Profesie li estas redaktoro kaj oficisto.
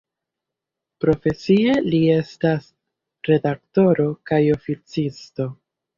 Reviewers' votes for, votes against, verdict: 2, 0, accepted